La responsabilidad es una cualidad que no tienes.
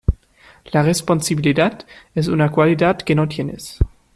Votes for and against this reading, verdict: 1, 2, rejected